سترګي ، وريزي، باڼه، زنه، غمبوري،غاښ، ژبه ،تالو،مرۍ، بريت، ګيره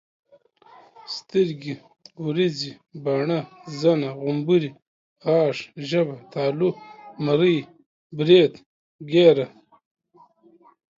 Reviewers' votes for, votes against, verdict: 2, 1, accepted